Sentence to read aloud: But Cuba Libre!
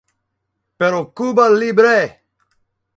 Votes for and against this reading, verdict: 0, 2, rejected